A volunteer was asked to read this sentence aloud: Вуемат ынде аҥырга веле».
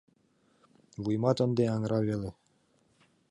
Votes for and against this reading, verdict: 0, 2, rejected